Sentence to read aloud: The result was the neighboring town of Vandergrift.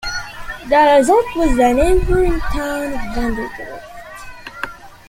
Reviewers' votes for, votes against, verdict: 1, 2, rejected